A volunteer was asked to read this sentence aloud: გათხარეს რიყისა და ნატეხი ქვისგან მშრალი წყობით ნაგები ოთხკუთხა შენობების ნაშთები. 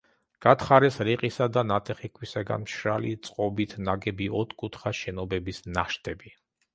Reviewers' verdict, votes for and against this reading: rejected, 1, 2